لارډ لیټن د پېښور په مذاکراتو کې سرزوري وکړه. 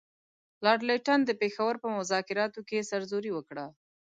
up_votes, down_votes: 2, 0